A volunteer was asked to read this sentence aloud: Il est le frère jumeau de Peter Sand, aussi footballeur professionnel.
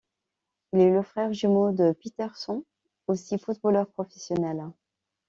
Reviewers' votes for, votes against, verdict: 2, 1, accepted